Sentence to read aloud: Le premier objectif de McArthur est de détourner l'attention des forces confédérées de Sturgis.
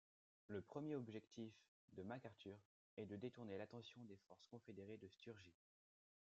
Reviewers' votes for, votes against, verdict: 2, 0, accepted